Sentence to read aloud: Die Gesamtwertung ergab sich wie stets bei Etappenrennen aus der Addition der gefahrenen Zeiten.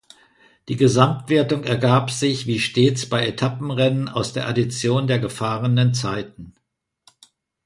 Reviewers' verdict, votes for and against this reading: accepted, 2, 0